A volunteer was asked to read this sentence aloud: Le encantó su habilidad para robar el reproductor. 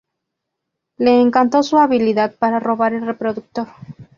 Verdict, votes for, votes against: accepted, 2, 0